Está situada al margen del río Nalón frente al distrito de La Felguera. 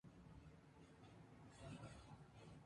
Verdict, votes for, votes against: rejected, 0, 2